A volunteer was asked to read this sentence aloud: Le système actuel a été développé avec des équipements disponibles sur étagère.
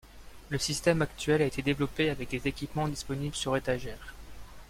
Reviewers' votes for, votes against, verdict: 2, 0, accepted